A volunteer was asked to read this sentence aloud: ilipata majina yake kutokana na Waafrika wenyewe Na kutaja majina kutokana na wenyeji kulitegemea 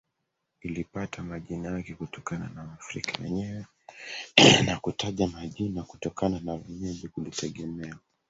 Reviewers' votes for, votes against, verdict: 2, 1, accepted